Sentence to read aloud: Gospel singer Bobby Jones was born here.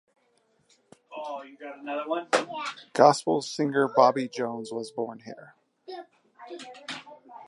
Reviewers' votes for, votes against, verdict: 1, 2, rejected